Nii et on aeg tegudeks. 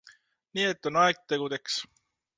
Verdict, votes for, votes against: accepted, 2, 0